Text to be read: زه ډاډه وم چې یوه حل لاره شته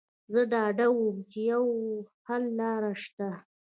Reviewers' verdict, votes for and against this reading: rejected, 1, 2